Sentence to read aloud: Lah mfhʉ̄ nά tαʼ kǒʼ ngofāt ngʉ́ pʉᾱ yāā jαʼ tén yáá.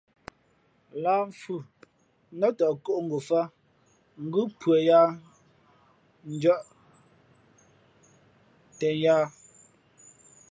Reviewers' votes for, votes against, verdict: 0, 2, rejected